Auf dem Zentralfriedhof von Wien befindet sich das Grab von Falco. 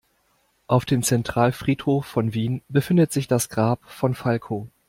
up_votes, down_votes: 2, 0